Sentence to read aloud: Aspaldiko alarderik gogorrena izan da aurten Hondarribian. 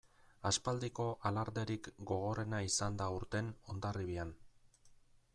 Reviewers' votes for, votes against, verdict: 2, 1, accepted